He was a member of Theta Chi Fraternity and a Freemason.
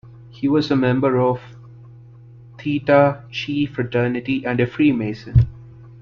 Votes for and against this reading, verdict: 1, 2, rejected